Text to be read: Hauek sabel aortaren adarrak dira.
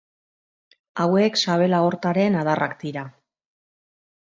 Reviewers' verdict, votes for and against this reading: accepted, 2, 0